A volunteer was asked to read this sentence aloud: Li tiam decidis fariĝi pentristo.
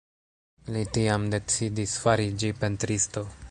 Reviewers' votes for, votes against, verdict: 2, 1, accepted